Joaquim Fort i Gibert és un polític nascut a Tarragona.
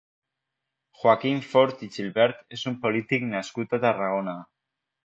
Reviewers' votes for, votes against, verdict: 3, 1, accepted